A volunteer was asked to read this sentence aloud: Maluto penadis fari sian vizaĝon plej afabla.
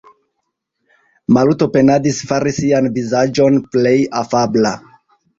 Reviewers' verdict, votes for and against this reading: accepted, 2, 0